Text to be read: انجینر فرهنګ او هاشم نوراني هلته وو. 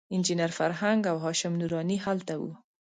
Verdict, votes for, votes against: accepted, 2, 0